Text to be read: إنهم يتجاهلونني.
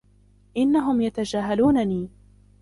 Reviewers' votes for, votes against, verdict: 0, 2, rejected